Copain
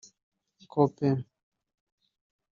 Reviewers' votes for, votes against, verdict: 0, 2, rejected